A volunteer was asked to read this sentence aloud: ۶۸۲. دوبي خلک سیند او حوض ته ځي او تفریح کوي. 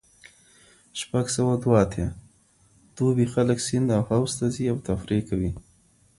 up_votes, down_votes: 0, 2